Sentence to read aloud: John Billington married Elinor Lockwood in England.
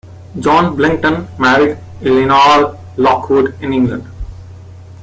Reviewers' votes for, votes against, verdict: 3, 1, accepted